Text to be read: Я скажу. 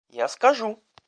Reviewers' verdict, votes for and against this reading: accepted, 2, 0